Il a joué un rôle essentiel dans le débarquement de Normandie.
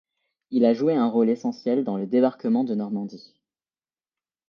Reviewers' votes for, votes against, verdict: 2, 0, accepted